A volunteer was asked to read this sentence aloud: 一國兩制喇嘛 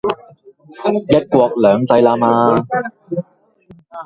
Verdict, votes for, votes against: rejected, 0, 2